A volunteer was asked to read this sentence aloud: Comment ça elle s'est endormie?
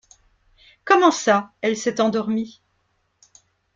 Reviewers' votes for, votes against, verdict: 2, 0, accepted